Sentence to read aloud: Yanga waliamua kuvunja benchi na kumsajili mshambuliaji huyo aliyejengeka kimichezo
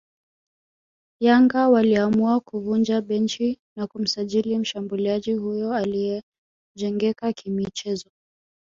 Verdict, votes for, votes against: accepted, 2, 0